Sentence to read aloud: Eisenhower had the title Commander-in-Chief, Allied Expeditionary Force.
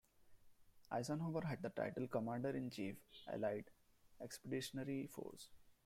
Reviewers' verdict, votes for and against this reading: accepted, 2, 1